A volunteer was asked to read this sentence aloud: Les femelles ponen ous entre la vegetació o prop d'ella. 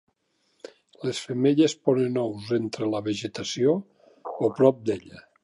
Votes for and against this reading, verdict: 2, 0, accepted